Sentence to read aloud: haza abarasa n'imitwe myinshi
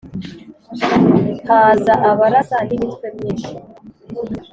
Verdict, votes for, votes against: accepted, 2, 0